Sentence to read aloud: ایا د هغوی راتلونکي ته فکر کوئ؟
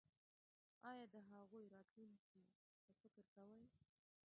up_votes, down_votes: 1, 2